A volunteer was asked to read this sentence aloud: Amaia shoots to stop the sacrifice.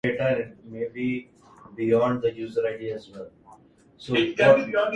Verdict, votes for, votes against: rejected, 1, 2